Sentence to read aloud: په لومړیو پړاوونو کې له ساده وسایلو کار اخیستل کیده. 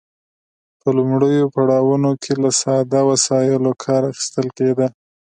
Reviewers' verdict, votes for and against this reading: accepted, 2, 0